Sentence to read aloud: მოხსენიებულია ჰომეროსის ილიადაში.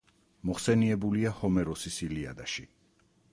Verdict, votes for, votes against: rejected, 2, 4